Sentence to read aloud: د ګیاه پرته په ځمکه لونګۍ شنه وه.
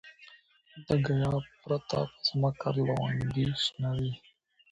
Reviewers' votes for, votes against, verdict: 0, 2, rejected